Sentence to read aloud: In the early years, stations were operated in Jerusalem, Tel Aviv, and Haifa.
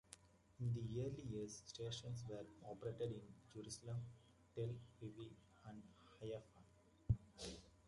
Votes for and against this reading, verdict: 0, 2, rejected